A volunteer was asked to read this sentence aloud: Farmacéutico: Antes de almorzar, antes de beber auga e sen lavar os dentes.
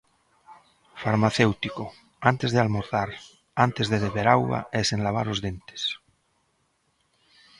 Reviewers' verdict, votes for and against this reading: accepted, 2, 0